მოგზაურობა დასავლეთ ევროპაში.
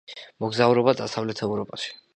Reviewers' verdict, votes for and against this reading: accepted, 2, 0